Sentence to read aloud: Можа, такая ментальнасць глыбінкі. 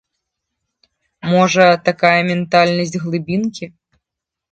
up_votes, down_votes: 2, 0